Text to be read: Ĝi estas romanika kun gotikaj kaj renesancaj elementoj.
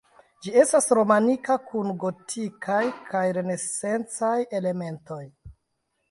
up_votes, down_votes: 2, 0